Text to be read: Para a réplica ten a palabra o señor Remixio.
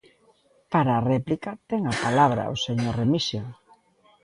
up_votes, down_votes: 2, 0